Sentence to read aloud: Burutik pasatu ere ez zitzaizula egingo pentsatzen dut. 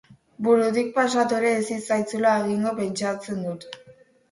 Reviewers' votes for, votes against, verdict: 2, 2, rejected